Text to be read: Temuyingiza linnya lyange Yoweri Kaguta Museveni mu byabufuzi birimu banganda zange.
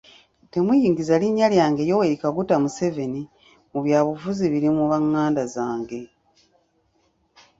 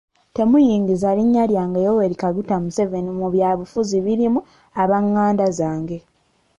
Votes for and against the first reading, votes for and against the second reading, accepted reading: 2, 0, 1, 2, first